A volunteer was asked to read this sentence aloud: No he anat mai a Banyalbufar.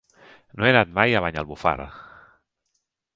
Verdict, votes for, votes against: rejected, 0, 2